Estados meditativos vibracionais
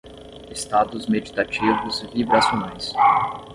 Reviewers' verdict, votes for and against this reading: rejected, 0, 10